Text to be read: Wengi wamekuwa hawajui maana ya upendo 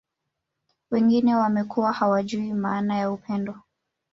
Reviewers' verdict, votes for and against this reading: rejected, 1, 2